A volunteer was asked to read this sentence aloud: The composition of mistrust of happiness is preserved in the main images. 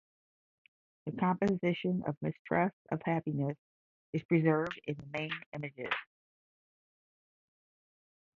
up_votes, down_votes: 5, 0